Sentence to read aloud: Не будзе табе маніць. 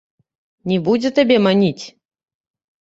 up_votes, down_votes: 0, 2